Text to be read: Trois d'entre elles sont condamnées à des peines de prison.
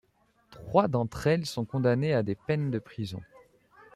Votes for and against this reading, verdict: 2, 0, accepted